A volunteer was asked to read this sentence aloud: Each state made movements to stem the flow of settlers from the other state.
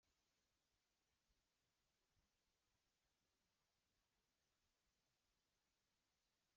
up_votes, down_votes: 0, 2